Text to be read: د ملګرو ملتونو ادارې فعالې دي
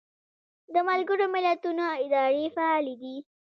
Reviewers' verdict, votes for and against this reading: accepted, 2, 1